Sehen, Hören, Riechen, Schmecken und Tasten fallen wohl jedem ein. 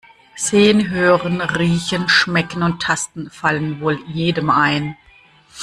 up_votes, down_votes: 2, 1